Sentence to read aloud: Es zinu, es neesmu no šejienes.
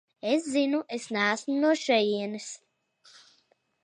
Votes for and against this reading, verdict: 3, 0, accepted